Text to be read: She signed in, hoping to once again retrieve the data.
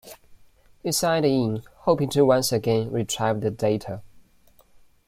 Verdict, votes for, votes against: rejected, 1, 2